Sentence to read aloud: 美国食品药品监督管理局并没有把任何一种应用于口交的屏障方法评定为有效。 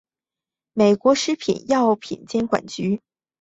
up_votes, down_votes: 1, 2